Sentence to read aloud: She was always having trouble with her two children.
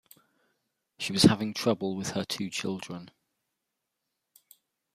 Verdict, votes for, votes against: rejected, 0, 2